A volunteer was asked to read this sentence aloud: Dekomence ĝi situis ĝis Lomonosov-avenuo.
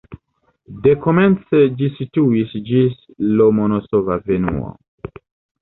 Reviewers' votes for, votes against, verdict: 1, 2, rejected